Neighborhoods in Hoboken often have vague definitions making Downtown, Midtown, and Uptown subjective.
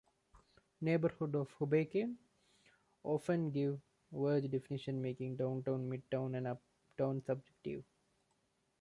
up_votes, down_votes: 0, 2